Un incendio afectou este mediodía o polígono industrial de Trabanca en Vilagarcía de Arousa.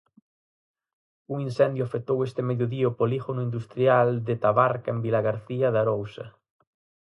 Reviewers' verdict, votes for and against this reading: rejected, 0, 4